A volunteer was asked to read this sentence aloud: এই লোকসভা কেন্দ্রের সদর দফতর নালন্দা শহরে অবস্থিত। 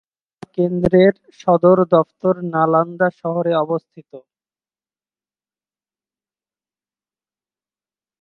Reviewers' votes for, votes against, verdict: 0, 2, rejected